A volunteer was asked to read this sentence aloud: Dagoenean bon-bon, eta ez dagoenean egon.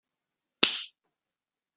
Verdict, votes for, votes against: rejected, 0, 2